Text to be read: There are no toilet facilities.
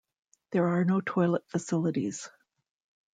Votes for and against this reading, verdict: 2, 0, accepted